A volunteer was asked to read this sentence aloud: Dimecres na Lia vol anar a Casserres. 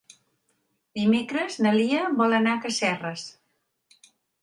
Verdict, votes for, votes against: accepted, 3, 0